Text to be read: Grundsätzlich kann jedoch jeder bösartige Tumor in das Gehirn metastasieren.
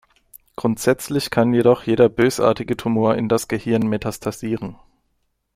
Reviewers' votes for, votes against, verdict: 2, 0, accepted